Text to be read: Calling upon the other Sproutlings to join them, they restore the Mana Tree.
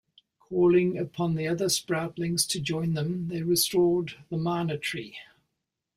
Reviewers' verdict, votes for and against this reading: rejected, 0, 2